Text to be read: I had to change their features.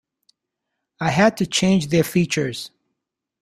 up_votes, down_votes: 2, 0